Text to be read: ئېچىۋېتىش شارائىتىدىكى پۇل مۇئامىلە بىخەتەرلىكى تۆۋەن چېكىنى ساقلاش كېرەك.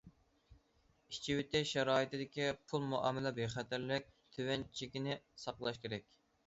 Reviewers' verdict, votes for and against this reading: rejected, 0, 2